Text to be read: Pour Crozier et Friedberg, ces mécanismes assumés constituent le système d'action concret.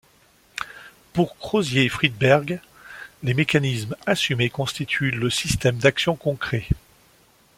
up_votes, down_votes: 1, 2